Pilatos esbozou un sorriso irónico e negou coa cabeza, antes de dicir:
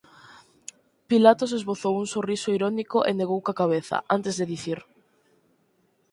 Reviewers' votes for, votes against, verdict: 4, 0, accepted